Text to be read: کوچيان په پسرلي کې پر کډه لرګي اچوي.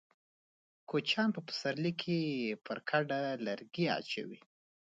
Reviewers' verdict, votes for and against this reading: accepted, 2, 1